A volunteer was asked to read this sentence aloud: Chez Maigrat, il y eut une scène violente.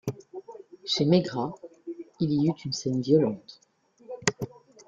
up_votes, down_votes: 2, 0